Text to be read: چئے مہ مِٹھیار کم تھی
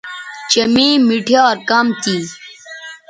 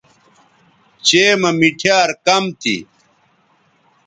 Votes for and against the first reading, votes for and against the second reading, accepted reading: 0, 2, 2, 0, second